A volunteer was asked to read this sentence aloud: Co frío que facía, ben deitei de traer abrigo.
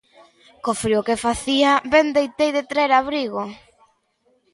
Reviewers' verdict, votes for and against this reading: accepted, 2, 0